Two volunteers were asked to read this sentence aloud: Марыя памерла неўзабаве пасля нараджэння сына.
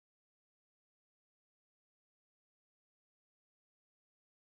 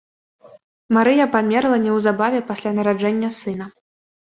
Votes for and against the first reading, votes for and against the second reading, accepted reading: 0, 2, 3, 0, second